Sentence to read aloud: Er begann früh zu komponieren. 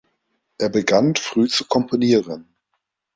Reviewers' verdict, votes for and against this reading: rejected, 1, 2